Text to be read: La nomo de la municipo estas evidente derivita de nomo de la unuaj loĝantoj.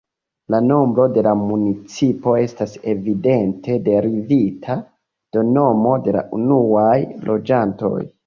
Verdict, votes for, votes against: rejected, 1, 2